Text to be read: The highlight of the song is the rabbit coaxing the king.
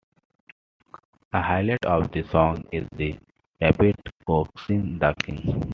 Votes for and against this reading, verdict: 2, 0, accepted